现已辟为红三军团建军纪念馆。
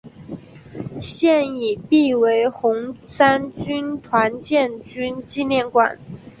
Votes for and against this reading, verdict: 3, 0, accepted